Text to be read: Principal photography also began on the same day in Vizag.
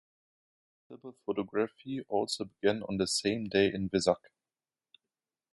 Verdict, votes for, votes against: rejected, 0, 2